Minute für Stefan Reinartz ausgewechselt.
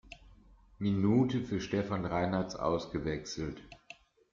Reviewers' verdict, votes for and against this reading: accepted, 2, 0